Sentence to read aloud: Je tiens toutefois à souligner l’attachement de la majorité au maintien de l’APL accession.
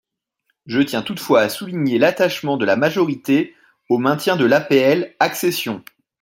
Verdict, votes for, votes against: accepted, 2, 0